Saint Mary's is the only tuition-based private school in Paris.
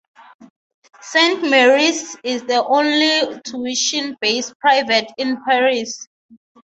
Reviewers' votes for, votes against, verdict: 0, 6, rejected